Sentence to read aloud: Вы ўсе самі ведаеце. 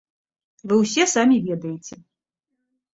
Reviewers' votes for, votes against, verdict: 2, 0, accepted